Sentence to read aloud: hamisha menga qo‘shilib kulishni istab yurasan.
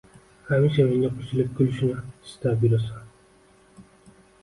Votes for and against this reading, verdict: 2, 1, accepted